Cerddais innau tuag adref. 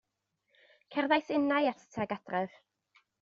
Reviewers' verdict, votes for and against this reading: rejected, 0, 2